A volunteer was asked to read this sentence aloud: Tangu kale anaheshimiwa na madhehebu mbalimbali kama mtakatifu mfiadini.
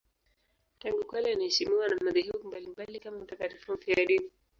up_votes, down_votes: 2, 2